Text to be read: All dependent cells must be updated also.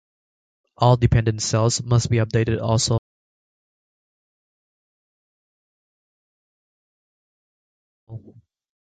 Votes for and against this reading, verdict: 2, 0, accepted